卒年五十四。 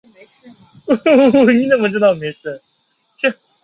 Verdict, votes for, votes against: rejected, 1, 3